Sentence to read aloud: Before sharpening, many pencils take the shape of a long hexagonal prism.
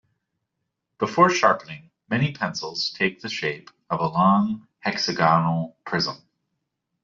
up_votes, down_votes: 2, 0